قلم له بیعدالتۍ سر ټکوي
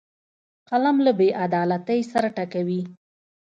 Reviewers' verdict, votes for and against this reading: accepted, 2, 0